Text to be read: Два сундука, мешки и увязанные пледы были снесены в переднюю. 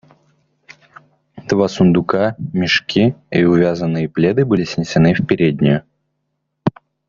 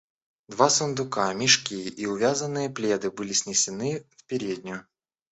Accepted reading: first